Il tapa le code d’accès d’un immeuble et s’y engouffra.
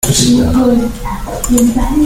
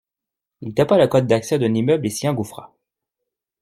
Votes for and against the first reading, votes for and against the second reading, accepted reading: 0, 2, 2, 0, second